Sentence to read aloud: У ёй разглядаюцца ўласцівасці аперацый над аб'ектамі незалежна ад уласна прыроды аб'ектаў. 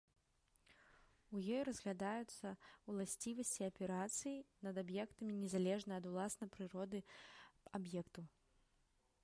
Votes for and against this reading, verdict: 0, 2, rejected